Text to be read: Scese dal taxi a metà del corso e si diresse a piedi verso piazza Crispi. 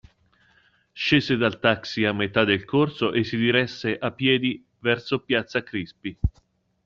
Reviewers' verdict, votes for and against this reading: accepted, 2, 0